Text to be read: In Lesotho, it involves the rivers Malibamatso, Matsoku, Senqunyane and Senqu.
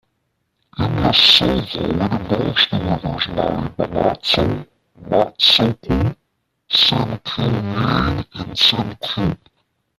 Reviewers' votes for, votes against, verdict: 0, 2, rejected